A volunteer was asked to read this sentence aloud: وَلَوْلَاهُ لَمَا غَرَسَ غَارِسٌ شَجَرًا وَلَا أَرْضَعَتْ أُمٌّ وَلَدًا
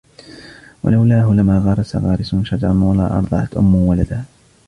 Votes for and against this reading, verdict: 0, 2, rejected